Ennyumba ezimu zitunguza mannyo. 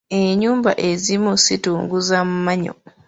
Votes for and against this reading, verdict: 1, 2, rejected